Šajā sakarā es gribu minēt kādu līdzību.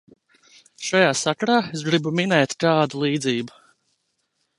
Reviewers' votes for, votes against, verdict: 2, 0, accepted